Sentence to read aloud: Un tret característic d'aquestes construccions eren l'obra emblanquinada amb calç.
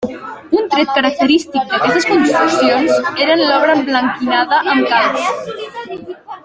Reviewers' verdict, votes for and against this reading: accepted, 2, 1